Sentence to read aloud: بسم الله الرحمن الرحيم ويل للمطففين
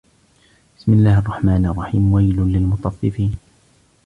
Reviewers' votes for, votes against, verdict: 0, 2, rejected